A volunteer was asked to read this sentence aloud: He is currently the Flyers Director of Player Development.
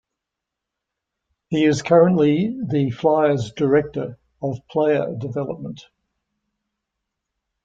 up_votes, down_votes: 2, 0